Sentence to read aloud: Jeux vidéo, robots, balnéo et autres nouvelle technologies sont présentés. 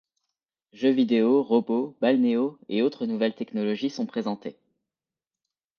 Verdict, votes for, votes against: accepted, 2, 0